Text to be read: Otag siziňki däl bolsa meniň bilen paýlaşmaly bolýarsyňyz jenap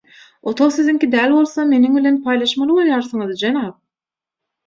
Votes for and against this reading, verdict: 6, 0, accepted